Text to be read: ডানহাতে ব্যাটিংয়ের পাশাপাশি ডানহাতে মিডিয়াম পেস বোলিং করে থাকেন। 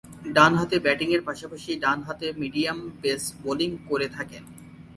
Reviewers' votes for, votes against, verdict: 3, 1, accepted